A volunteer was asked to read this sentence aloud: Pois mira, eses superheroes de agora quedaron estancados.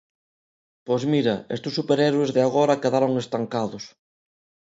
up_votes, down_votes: 0, 2